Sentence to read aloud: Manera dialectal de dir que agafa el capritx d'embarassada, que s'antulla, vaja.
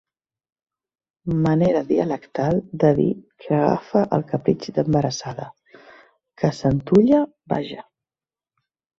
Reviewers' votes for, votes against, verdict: 2, 0, accepted